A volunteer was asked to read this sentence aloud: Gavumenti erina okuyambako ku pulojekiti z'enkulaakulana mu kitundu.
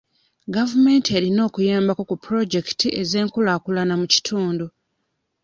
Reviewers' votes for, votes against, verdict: 0, 2, rejected